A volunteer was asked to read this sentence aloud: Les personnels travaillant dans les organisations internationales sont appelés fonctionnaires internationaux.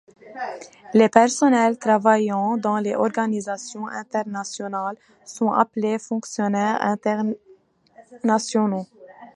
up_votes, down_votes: 0, 2